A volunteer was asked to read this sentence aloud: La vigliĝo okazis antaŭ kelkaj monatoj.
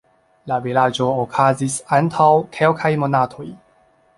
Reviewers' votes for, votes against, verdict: 2, 1, accepted